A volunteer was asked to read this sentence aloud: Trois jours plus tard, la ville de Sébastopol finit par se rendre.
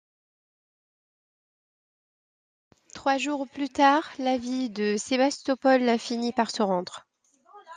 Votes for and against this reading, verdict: 2, 0, accepted